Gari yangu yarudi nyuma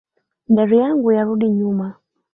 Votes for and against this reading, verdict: 3, 1, accepted